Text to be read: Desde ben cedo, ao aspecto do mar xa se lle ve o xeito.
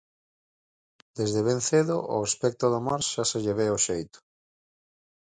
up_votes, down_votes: 4, 0